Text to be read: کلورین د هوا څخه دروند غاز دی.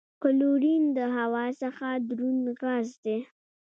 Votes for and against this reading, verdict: 1, 2, rejected